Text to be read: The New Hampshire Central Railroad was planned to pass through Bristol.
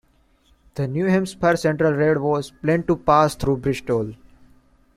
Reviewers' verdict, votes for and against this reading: accepted, 2, 0